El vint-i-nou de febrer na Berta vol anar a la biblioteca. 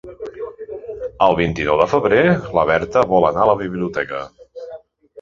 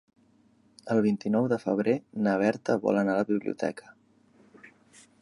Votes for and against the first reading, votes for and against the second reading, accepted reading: 1, 3, 3, 0, second